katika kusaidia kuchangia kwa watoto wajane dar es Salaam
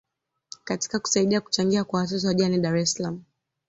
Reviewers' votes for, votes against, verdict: 2, 0, accepted